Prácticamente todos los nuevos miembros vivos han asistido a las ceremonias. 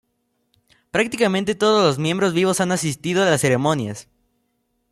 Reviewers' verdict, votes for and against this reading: rejected, 1, 2